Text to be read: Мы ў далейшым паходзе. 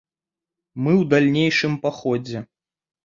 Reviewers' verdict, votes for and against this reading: rejected, 0, 3